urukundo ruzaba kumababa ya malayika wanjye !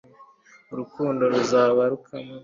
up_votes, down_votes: 0, 2